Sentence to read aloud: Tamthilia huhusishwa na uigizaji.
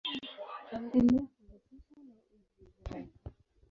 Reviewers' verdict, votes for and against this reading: rejected, 0, 2